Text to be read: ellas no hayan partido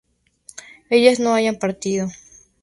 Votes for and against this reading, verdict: 4, 0, accepted